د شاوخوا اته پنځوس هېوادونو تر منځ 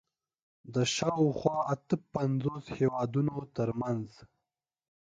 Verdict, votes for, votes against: accepted, 3, 0